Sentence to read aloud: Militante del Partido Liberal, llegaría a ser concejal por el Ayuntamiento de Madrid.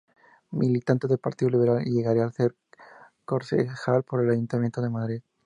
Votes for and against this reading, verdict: 0, 2, rejected